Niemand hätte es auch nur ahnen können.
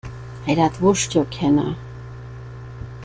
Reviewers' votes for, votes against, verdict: 0, 2, rejected